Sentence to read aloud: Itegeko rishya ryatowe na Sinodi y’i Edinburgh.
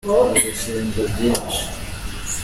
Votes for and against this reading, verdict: 0, 2, rejected